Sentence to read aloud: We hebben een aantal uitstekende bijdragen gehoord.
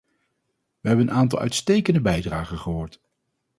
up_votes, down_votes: 0, 2